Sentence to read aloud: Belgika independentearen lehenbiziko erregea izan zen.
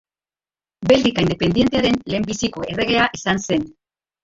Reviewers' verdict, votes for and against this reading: rejected, 2, 2